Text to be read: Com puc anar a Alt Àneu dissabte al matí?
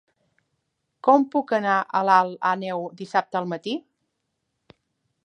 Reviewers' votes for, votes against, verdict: 0, 2, rejected